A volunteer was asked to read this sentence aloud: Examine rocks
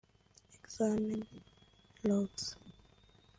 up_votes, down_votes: 0, 2